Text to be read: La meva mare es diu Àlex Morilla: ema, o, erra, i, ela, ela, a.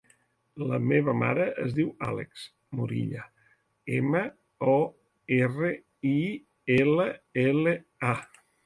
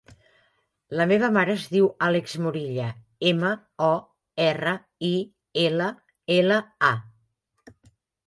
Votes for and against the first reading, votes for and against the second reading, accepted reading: 1, 2, 3, 0, second